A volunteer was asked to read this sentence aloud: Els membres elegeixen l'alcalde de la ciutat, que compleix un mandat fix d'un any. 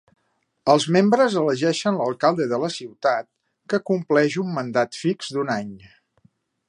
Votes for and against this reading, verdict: 3, 0, accepted